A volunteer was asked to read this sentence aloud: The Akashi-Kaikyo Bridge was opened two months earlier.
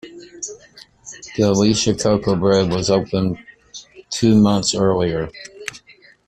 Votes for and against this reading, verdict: 1, 2, rejected